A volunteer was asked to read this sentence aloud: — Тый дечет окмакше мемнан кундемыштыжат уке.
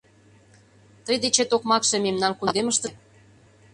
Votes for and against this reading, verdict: 0, 2, rejected